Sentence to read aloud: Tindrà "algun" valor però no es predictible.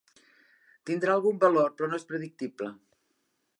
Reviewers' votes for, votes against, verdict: 2, 0, accepted